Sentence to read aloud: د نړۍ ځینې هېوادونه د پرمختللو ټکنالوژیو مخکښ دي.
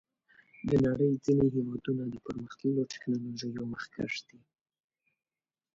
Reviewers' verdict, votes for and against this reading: accepted, 2, 1